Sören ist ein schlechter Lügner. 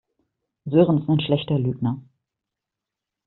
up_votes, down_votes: 1, 2